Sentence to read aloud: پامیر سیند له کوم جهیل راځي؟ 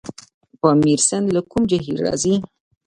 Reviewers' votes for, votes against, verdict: 2, 0, accepted